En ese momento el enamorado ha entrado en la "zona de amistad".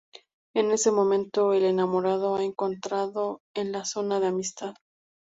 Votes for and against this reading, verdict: 0, 2, rejected